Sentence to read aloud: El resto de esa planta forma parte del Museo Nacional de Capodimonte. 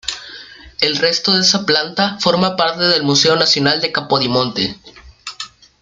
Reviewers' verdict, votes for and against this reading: accepted, 2, 0